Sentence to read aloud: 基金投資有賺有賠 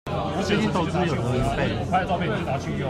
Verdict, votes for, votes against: rejected, 1, 2